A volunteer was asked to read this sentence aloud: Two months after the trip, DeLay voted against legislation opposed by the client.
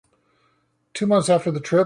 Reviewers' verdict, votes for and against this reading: rejected, 0, 2